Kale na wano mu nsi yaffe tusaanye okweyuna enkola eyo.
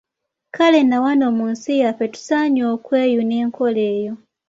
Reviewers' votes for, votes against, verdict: 2, 0, accepted